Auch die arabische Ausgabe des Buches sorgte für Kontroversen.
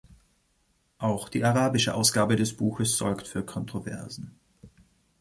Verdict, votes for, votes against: rejected, 1, 2